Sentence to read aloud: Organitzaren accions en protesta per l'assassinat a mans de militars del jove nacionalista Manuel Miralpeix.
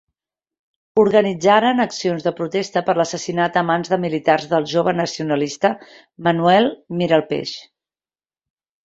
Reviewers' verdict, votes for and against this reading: rejected, 1, 2